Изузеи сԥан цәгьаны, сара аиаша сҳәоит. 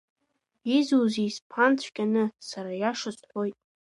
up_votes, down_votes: 2, 0